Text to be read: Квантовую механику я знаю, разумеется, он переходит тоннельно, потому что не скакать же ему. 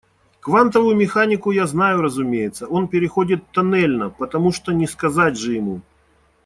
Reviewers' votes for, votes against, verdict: 1, 2, rejected